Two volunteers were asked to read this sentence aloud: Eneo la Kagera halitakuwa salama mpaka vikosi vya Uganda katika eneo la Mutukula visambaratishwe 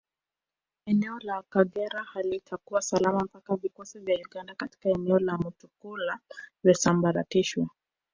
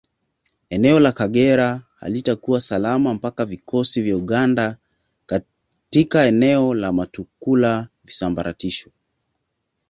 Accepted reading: second